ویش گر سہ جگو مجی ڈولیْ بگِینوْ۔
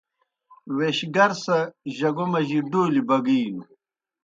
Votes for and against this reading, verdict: 2, 0, accepted